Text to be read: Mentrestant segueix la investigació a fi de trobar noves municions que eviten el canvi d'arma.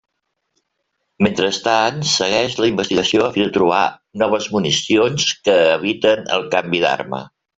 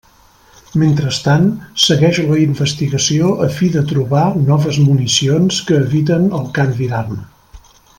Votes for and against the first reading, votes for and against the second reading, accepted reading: 1, 2, 2, 0, second